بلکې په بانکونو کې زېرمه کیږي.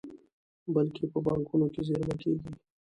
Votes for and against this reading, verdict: 2, 1, accepted